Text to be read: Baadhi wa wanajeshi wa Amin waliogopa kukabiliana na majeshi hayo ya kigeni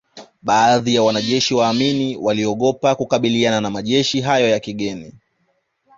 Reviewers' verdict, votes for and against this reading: accepted, 2, 1